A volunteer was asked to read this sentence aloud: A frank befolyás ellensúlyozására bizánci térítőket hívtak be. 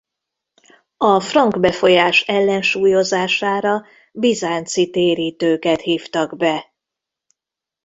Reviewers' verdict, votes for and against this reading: accepted, 2, 0